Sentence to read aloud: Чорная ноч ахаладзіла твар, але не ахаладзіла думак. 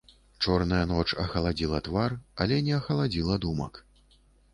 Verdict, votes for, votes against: accepted, 2, 0